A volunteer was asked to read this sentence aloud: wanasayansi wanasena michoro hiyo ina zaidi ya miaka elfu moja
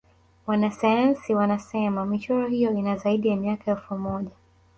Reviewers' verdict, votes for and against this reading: accepted, 7, 0